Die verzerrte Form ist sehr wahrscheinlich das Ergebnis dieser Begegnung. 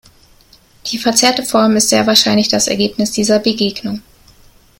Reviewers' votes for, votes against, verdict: 2, 0, accepted